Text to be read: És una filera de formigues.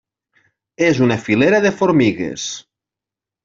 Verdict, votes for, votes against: accepted, 3, 0